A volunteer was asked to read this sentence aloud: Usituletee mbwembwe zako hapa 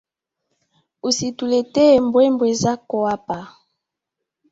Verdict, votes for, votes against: accepted, 2, 1